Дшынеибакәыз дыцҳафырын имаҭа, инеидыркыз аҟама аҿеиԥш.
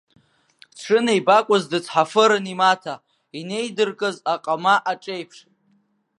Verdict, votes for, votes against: rejected, 1, 2